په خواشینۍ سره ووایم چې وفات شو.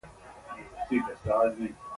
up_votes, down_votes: 2, 1